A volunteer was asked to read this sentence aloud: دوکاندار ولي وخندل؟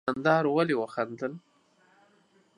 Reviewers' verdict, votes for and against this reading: accepted, 2, 0